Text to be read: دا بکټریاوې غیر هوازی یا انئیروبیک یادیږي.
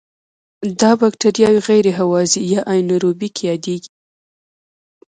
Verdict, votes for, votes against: rejected, 1, 2